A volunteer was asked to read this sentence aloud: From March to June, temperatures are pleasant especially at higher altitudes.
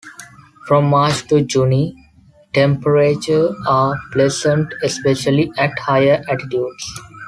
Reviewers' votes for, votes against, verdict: 0, 2, rejected